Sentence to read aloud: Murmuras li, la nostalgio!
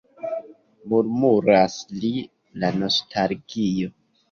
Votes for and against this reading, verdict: 1, 2, rejected